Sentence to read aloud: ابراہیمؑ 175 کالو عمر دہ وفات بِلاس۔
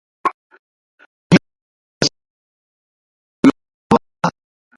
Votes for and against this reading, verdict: 0, 2, rejected